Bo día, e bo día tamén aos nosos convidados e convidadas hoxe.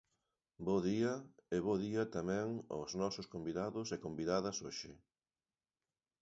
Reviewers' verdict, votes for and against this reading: accepted, 7, 1